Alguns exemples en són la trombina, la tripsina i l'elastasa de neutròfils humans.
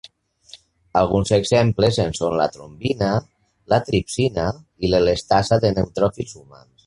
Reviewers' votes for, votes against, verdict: 3, 0, accepted